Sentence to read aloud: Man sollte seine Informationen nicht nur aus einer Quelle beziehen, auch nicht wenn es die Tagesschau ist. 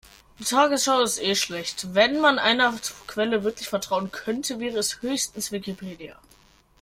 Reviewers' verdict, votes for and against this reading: rejected, 0, 2